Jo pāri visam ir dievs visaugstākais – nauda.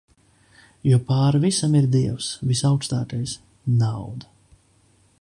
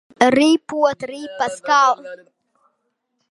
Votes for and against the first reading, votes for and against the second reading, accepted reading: 2, 0, 0, 2, first